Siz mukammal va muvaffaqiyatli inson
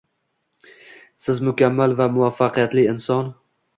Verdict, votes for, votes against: accepted, 2, 0